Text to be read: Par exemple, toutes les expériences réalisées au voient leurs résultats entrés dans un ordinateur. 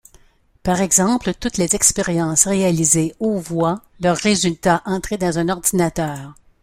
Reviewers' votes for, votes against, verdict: 0, 2, rejected